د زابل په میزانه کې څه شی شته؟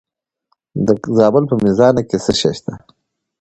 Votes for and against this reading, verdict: 2, 0, accepted